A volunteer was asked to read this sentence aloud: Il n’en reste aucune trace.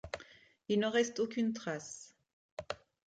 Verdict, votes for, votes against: accepted, 2, 0